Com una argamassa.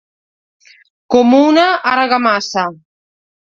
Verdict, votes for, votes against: rejected, 1, 2